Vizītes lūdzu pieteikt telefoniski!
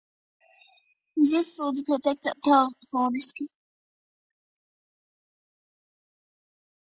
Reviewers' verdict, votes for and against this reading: rejected, 0, 2